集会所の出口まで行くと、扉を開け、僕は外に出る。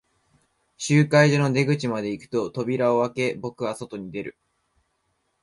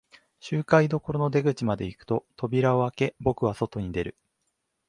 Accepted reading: first